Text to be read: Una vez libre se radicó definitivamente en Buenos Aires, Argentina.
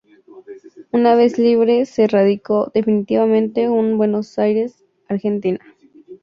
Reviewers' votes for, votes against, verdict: 2, 4, rejected